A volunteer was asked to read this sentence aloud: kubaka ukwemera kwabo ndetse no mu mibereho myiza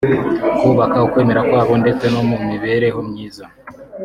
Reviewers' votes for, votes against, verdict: 2, 0, accepted